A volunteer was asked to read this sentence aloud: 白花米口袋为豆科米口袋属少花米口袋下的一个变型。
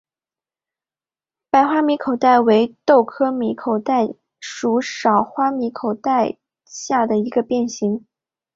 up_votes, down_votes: 3, 0